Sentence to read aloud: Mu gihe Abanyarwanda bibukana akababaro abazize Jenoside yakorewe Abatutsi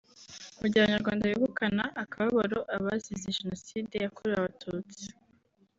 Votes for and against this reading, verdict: 3, 0, accepted